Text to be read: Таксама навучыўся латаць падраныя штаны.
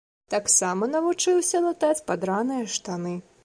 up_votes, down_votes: 2, 0